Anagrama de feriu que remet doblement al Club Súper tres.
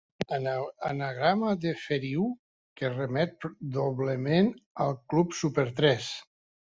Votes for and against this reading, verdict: 1, 2, rejected